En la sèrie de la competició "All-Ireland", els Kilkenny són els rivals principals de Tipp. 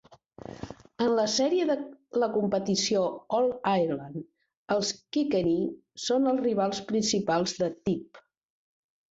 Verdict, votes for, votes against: accepted, 2, 0